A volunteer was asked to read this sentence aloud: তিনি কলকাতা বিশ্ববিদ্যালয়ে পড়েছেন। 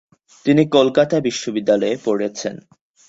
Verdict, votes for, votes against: accepted, 2, 0